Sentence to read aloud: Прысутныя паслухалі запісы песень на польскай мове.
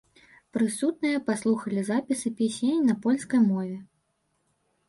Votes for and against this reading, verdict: 0, 2, rejected